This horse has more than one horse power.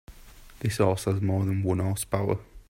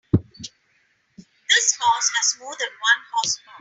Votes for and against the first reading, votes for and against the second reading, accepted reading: 2, 0, 2, 5, first